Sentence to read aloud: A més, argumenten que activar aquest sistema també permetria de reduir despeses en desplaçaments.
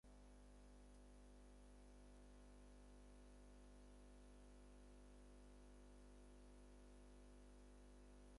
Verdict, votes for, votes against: rejected, 0, 4